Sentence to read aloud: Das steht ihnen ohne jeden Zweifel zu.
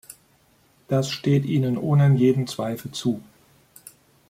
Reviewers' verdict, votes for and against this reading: rejected, 1, 2